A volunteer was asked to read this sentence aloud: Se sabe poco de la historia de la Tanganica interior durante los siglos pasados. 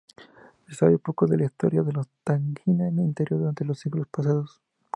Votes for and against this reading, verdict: 0, 2, rejected